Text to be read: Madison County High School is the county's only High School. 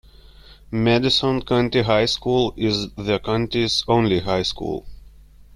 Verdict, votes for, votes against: accepted, 2, 1